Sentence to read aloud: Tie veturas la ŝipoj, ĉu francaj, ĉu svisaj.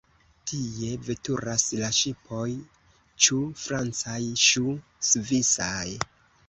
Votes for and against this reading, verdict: 0, 2, rejected